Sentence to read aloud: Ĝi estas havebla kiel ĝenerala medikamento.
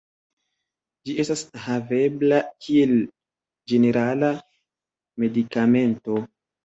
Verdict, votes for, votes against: accepted, 2, 0